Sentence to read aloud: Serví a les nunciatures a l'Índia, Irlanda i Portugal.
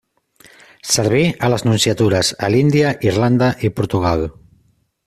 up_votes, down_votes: 2, 0